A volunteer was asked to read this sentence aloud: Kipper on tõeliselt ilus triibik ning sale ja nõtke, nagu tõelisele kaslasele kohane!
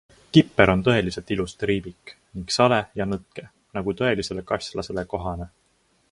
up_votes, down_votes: 2, 0